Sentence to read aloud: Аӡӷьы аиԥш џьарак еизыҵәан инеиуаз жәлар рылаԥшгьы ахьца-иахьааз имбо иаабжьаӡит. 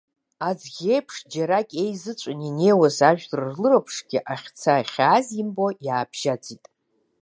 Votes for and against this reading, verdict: 2, 3, rejected